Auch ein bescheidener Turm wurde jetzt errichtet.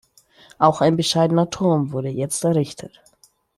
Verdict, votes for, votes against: accepted, 2, 0